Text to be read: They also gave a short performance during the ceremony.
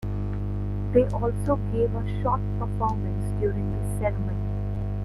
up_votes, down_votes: 0, 2